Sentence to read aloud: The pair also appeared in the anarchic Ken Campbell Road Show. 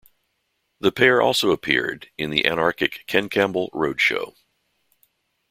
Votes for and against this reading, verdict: 2, 0, accepted